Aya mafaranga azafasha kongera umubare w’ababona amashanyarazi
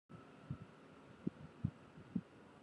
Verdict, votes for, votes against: rejected, 2, 3